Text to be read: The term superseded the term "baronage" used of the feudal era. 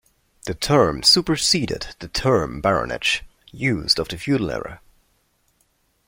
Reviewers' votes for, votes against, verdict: 1, 2, rejected